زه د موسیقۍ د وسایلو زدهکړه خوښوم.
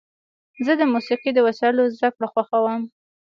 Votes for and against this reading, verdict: 2, 1, accepted